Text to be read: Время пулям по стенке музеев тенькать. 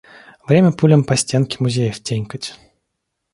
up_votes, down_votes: 2, 0